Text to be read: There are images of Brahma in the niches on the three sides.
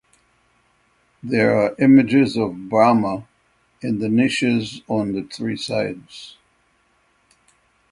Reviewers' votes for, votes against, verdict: 6, 0, accepted